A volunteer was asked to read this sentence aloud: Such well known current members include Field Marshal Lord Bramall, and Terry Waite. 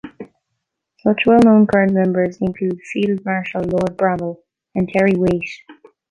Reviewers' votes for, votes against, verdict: 1, 2, rejected